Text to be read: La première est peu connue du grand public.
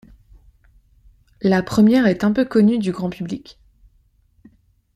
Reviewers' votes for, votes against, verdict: 0, 2, rejected